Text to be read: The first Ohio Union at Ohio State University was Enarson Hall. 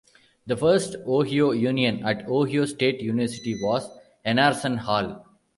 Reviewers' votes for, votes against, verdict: 1, 2, rejected